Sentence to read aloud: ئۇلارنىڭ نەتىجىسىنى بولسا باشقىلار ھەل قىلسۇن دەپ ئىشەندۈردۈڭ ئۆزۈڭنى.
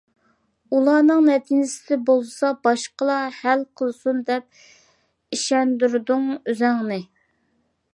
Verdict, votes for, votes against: accepted, 2, 1